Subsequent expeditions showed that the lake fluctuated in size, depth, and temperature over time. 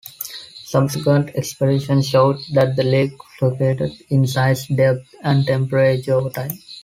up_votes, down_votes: 2, 1